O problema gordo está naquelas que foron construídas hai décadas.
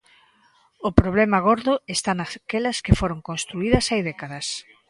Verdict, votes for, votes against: rejected, 1, 2